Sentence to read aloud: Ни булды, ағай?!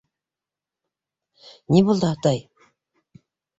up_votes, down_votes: 0, 2